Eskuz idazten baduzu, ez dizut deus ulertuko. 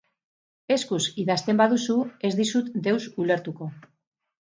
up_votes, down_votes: 4, 0